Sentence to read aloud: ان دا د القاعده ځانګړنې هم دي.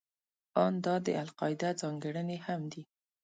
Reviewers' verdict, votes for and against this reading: accepted, 2, 0